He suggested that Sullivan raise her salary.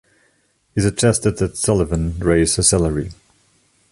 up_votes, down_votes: 1, 2